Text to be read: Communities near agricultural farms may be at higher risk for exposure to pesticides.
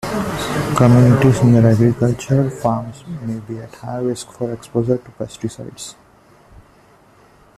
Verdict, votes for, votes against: accepted, 2, 0